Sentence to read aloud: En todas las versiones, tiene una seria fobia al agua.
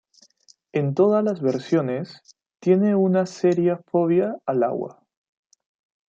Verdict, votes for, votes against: rejected, 0, 2